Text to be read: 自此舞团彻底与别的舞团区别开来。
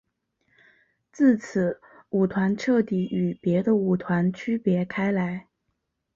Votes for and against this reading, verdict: 7, 0, accepted